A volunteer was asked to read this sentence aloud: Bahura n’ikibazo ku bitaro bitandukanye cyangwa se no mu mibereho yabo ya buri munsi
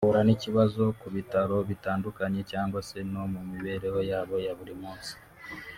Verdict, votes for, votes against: accepted, 2, 0